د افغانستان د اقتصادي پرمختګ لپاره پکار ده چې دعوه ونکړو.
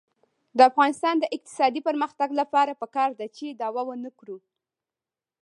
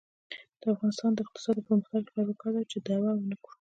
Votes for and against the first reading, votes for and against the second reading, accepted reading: 1, 2, 2, 0, second